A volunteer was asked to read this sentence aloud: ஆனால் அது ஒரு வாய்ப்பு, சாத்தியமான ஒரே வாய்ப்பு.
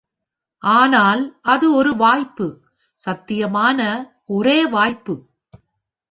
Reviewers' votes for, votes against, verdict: 1, 2, rejected